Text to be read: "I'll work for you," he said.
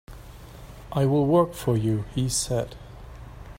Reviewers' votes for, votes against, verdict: 1, 2, rejected